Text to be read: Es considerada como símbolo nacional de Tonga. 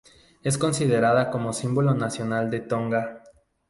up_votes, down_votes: 2, 0